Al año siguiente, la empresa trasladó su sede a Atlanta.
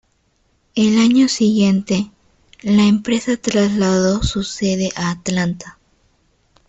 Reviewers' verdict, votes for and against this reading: rejected, 0, 2